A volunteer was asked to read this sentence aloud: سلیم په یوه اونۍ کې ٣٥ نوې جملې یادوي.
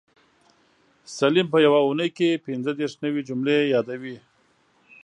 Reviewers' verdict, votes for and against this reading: rejected, 0, 2